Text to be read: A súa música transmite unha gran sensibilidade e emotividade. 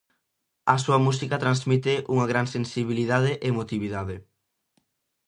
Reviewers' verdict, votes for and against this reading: accepted, 2, 0